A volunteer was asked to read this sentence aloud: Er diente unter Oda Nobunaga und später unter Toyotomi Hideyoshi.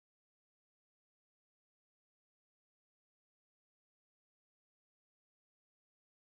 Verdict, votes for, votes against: rejected, 0, 2